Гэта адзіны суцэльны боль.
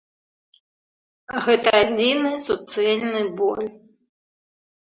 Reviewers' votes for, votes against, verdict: 3, 0, accepted